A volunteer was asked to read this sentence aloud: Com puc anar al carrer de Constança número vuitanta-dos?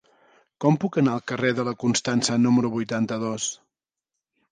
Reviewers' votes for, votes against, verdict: 0, 2, rejected